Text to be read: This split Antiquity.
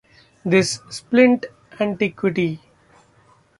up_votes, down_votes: 0, 2